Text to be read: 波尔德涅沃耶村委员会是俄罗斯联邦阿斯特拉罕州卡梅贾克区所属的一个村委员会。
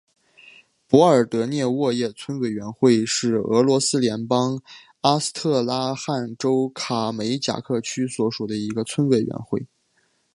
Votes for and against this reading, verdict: 3, 0, accepted